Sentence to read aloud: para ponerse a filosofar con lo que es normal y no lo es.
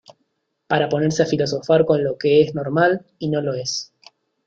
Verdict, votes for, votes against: accepted, 2, 0